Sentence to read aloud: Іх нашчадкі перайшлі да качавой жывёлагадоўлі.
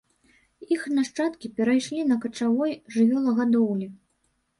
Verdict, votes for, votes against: rejected, 0, 2